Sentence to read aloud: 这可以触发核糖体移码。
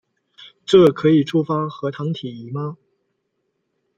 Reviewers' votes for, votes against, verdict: 0, 2, rejected